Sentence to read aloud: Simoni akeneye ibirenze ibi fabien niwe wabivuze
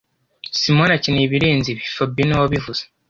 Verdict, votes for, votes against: accepted, 2, 0